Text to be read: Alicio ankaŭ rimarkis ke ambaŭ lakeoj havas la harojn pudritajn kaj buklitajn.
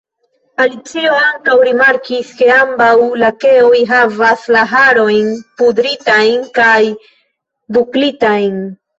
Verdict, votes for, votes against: accepted, 2, 0